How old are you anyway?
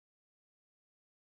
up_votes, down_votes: 0, 2